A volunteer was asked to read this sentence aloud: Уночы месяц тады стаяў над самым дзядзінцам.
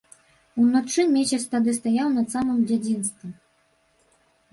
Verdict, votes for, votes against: rejected, 1, 2